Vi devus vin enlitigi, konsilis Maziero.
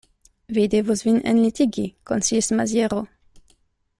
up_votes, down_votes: 2, 0